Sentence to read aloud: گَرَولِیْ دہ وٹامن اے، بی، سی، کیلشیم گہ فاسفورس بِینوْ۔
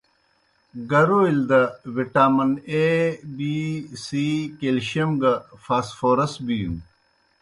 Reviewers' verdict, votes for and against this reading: accepted, 2, 0